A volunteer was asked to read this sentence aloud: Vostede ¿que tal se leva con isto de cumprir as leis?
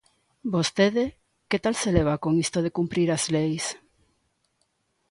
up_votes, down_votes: 2, 0